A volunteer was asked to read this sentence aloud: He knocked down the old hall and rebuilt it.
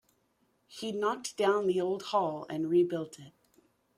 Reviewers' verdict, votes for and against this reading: accepted, 2, 0